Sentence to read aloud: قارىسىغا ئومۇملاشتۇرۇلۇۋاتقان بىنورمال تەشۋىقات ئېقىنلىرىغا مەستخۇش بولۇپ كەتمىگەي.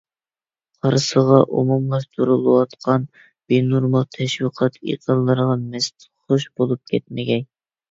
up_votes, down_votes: 2, 0